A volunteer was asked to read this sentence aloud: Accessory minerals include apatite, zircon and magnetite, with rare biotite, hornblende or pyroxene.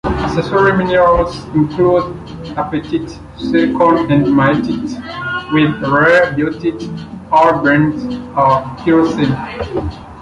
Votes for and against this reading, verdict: 0, 2, rejected